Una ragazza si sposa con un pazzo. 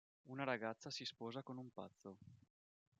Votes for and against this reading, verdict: 1, 2, rejected